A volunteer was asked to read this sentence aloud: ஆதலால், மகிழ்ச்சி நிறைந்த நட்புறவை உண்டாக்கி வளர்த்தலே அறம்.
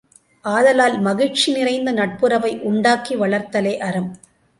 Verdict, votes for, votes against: accepted, 3, 0